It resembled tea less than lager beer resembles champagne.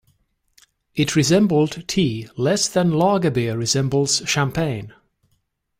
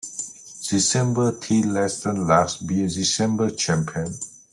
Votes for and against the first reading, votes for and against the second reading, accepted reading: 2, 0, 0, 2, first